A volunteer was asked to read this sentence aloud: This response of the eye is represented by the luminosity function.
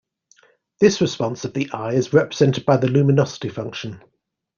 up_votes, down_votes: 2, 0